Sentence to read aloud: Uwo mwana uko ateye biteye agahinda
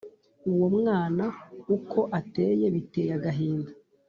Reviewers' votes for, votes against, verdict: 2, 0, accepted